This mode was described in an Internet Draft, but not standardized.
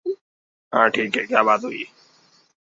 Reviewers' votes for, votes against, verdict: 0, 2, rejected